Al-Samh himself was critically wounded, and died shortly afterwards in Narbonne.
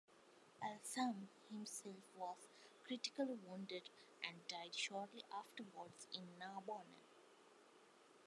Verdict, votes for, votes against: rejected, 0, 2